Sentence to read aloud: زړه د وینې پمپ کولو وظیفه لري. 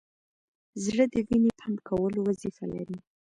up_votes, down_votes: 1, 2